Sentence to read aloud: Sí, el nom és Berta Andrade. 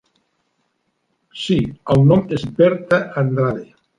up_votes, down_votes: 3, 0